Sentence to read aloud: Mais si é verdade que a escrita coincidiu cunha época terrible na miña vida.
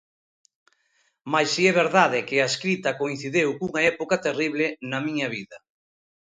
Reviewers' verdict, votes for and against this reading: rejected, 0, 2